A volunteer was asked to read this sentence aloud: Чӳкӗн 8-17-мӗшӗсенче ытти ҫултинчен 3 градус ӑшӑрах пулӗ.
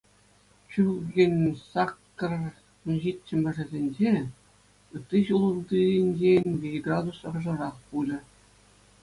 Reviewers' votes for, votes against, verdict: 0, 2, rejected